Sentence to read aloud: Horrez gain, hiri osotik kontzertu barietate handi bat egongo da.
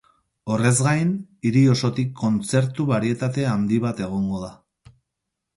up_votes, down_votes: 2, 0